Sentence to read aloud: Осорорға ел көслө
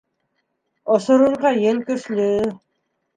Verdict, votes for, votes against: rejected, 1, 2